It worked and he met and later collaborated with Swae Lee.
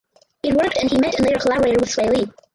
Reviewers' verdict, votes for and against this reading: rejected, 0, 4